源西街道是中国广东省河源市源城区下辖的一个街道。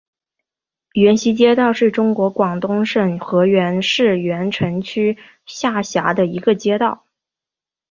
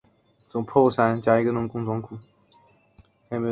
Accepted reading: first